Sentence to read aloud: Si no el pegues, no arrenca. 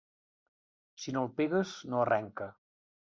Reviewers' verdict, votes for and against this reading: accepted, 2, 1